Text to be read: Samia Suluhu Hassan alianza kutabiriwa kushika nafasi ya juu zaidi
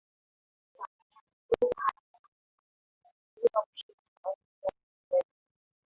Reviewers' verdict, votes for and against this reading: rejected, 0, 3